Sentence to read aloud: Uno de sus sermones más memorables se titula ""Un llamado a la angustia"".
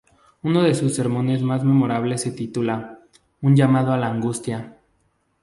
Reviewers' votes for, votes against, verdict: 2, 0, accepted